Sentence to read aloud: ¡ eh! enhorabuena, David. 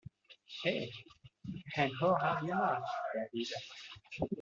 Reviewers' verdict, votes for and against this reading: rejected, 1, 2